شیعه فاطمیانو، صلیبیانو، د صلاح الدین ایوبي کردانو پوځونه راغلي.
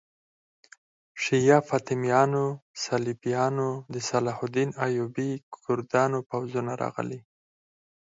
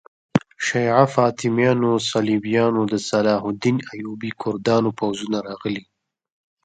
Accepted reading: second